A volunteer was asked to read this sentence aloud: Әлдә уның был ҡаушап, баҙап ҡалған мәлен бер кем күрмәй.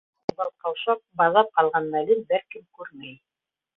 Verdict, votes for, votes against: rejected, 0, 2